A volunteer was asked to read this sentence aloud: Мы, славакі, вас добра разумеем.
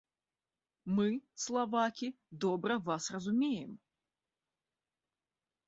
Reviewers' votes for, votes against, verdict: 1, 2, rejected